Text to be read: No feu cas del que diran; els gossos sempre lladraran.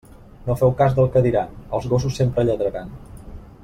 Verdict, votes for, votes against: accepted, 2, 0